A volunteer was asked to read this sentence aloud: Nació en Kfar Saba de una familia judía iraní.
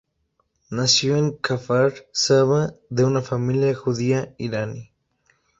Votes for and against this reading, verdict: 0, 2, rejected